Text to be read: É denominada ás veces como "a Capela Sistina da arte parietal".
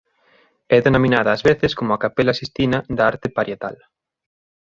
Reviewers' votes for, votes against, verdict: 3, 0, accepted